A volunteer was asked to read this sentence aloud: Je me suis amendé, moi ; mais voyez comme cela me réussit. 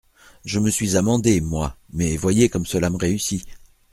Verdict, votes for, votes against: accepted, 2, 0